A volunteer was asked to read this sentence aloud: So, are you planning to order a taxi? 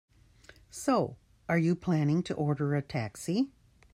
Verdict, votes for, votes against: accepted, 2, 0